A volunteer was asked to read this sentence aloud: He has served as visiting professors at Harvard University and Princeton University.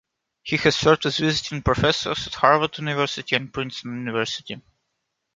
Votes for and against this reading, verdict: 1, 2, rejected